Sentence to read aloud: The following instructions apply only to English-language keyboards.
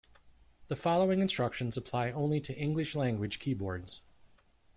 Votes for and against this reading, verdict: 2, 0, accepted